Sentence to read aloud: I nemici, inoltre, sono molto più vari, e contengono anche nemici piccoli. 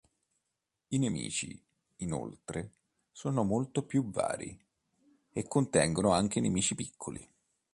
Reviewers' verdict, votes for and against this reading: accepted, 3, 0